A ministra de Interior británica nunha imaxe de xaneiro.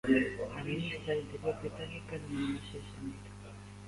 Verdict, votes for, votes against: rejected, 0, 2